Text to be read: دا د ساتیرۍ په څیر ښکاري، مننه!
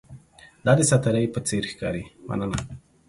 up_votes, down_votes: 2, 0